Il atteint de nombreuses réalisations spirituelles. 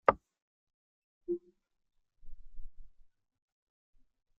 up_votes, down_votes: 0, 2